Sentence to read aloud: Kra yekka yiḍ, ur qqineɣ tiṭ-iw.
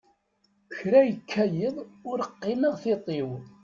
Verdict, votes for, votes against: accepted, 2, 0